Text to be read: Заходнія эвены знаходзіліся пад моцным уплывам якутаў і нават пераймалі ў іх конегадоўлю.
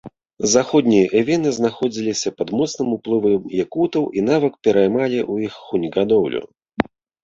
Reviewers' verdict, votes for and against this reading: rejected, 1, 2